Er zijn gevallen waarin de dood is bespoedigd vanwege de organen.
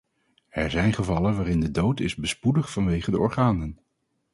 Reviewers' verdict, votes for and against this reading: accepted, 4, 0